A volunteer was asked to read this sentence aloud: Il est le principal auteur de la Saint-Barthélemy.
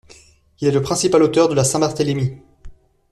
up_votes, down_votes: 2, 0